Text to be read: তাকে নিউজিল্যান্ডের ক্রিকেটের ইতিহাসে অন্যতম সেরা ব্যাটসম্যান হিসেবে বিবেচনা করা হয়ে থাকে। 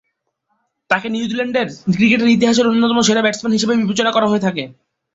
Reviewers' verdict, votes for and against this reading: accepted, 2, 0